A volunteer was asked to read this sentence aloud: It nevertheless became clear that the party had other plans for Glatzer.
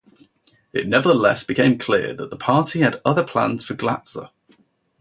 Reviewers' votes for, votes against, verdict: 2, 2, rejected